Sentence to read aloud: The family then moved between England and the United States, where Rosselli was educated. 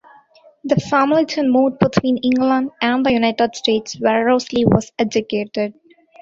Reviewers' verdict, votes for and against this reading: rejected, 0, 2